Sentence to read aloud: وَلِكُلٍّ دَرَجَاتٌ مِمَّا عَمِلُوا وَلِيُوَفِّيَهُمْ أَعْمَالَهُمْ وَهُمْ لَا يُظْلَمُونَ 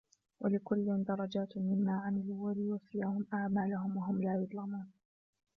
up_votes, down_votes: 0, 2